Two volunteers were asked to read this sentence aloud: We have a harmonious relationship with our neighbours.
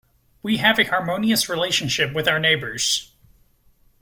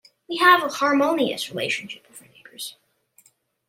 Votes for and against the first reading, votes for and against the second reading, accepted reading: 2, 0, 1, 2, first